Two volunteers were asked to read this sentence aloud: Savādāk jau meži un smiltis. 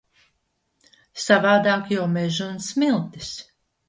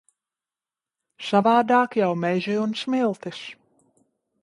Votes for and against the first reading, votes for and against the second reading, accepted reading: 2, 1, 1, 2, first